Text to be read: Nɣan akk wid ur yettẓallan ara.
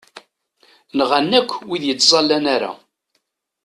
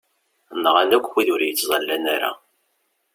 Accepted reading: second